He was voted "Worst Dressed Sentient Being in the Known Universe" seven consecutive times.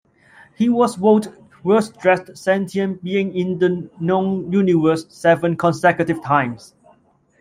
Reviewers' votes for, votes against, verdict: 2, 0, accepted